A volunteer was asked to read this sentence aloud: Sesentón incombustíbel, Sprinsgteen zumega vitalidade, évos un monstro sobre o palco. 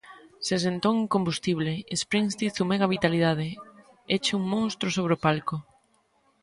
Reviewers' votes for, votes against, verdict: 0, 2, rejected